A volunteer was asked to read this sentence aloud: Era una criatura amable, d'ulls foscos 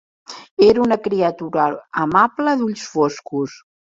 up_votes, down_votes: 1, 2